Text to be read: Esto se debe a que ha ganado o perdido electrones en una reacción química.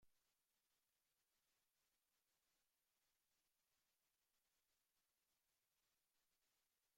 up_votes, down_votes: 0, 2